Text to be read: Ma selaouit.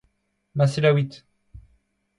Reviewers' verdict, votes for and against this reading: accepted, 2, 0